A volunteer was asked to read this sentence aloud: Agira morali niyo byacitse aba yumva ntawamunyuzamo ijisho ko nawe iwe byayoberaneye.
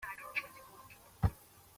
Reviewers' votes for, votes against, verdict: 0, 2, rejected